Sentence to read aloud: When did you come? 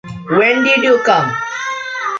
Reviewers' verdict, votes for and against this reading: rejected, 1, 2